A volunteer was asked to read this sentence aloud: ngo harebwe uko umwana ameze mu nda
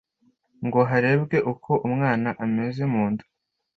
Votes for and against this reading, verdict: 3, 0, accepted